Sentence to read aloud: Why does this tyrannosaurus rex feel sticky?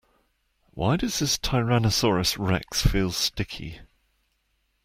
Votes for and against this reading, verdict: 2, 1, accepted